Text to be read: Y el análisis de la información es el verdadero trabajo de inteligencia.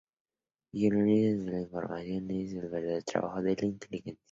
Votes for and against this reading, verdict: 0, 2, rejected